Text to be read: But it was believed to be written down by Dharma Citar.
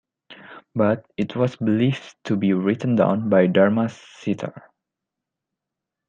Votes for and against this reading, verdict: 2, 0, accepted